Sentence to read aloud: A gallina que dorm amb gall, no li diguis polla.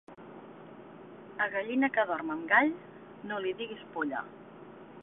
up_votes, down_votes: 2, 0